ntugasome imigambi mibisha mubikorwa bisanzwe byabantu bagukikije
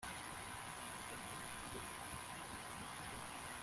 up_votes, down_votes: 0, 2